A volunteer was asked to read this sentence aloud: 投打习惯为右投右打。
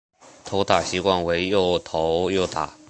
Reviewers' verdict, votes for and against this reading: rejected, 1, 2